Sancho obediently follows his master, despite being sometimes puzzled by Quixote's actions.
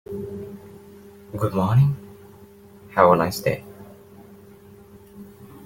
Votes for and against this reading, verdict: 0, 2, rejected